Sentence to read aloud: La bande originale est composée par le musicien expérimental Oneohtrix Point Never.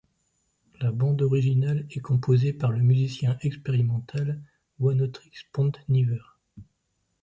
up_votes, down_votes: 0, 2